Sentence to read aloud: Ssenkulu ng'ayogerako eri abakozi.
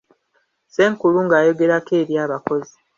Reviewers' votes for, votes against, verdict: 2, 0, accepted